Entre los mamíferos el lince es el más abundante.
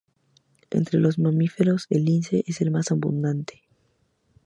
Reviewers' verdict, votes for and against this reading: accepted, 2, 0